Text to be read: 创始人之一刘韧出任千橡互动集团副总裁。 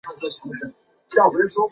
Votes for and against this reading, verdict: 2, 3, rejected